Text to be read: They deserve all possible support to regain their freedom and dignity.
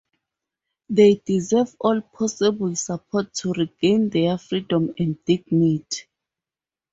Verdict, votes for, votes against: rejected, 0, 2